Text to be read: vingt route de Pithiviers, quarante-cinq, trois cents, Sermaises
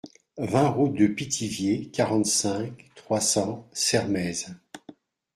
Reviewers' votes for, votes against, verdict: 2, 0, accepted